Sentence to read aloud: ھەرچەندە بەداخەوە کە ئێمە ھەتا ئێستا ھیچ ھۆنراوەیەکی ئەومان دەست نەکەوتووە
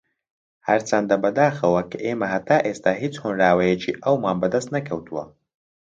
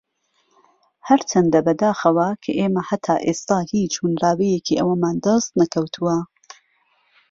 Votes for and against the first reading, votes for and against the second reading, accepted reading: 0, 2, 2, 0, second